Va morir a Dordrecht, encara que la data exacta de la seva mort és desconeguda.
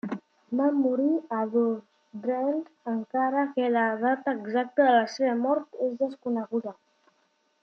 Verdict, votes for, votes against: rejected, 1, 2